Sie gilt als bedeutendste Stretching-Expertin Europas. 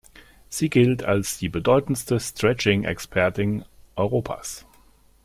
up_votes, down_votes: 1, 2